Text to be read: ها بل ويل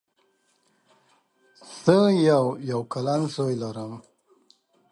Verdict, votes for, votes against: rejected, 0, 2